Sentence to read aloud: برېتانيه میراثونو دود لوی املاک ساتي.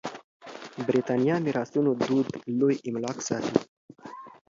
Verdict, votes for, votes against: accepted, 2, 0